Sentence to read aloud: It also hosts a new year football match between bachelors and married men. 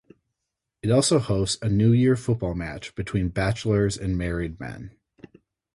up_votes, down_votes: 4, 0